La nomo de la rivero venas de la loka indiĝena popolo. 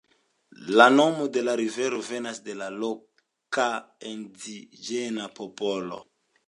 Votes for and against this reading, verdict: 3, 2, accepted